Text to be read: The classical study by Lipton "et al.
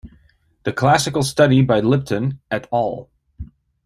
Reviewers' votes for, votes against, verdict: 2, 1, accepted